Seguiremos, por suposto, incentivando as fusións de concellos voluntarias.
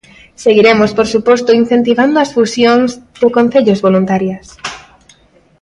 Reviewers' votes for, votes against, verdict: 2, 0, accepted